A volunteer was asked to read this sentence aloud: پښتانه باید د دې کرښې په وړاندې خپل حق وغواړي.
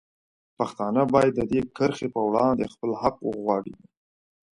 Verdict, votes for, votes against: accepted, 2, 0